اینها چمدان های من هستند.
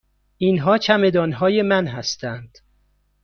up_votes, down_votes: 2, 0